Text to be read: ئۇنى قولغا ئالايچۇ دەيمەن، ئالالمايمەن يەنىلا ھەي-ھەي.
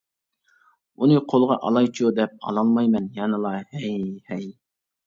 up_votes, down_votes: 1, 2